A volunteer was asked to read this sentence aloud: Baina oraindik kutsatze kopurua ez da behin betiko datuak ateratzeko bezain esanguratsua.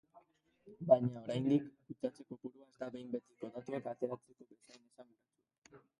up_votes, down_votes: 0, 3